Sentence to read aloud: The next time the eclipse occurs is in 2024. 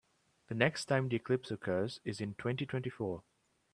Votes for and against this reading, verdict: 0, 2, rejected